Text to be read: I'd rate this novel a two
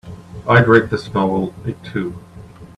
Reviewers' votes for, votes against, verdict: 3, 0, accepted